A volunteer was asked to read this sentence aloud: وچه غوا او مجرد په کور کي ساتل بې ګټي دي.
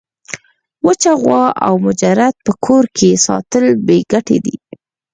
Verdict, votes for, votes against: accepted, 4, 2